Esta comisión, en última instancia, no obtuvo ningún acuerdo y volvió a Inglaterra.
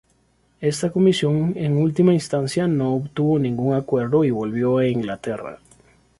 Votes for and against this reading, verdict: 2, 0, accepted